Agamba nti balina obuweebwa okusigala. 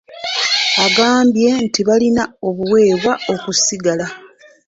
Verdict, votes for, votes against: rejected, 0, 2